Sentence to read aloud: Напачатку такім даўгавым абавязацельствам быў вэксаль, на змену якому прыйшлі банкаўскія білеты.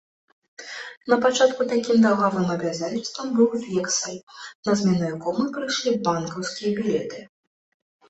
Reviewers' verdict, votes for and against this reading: rejected, 2, 3